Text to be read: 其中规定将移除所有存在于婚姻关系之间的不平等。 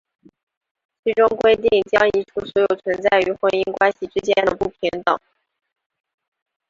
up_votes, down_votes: 3, 0